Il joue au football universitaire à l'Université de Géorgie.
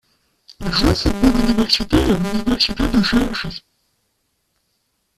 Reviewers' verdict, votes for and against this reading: rejected, 1, 2